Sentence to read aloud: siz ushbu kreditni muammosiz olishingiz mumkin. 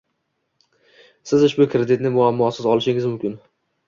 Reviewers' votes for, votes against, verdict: 2, 0, accepted